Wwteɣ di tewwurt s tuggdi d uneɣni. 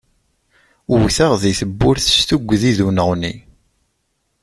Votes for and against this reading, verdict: 2, 0, accepted